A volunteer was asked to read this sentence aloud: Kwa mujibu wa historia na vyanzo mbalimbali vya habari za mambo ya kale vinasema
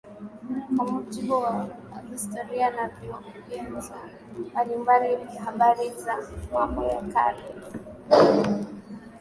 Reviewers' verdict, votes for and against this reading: rejected, 1, 2